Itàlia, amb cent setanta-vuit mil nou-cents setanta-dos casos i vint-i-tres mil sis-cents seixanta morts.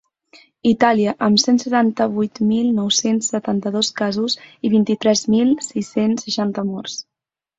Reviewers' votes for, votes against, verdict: 9, 0, accepted